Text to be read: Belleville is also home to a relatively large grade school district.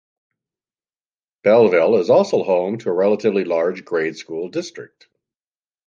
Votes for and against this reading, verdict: 2, 0, accepted